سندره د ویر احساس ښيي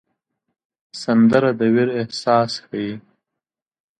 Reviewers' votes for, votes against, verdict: 2, 0, accepted